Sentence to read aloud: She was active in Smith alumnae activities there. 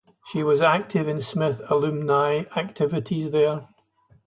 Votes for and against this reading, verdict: 0, 2, rejected